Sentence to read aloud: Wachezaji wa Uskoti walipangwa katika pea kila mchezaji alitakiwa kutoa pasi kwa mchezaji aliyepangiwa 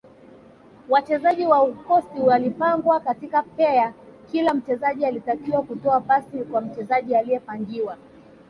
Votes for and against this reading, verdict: 2, 0, accepted